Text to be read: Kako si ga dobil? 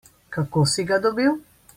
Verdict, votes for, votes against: accepted, 2, 0